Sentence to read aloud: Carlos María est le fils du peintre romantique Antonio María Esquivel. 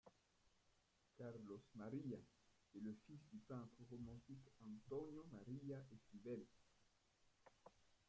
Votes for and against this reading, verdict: 0, 2, rejected